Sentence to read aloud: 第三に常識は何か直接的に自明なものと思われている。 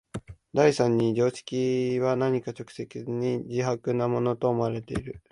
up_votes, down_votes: 3, 5